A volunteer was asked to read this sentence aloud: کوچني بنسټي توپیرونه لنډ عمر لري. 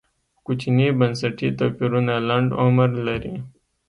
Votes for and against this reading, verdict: 2, 0, accepted